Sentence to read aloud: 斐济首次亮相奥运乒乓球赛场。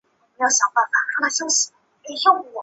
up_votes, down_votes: 0, 2